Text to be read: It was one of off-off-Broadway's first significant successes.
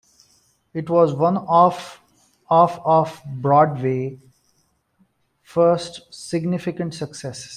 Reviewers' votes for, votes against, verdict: 0, 2, rejected